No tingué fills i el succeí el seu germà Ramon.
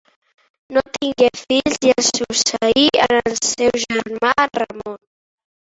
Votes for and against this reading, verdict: 0, 2, rejected